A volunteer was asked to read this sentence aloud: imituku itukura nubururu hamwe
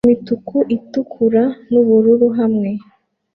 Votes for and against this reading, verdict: 2, 0, accepted